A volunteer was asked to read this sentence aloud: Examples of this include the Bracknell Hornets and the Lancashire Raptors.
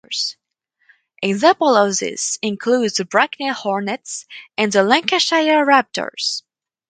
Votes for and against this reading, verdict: 2, 2, rejected